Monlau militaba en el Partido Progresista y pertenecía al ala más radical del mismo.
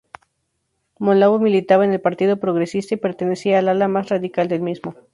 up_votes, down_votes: 2, 0